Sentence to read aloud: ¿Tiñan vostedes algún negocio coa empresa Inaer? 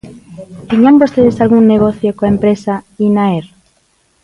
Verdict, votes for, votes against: accepted, 2, 0